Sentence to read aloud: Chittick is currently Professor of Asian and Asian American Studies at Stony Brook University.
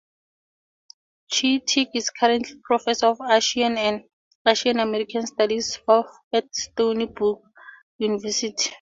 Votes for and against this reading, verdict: 0, 4, rejected